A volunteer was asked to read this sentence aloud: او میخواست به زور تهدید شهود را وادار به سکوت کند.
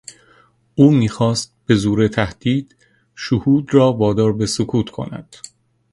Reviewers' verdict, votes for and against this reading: accepted, 2, 0